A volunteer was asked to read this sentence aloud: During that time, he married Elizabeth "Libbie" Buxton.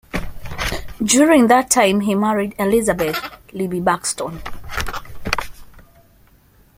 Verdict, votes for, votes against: accepted, 2, 0